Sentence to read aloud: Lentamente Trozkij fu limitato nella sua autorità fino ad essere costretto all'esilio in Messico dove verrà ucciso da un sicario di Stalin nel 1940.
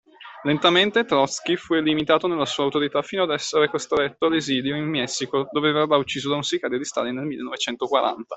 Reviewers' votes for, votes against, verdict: 0, 2, rejected